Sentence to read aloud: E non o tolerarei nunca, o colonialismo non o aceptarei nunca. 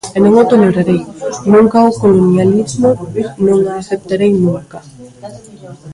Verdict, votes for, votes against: rejected, 0, 2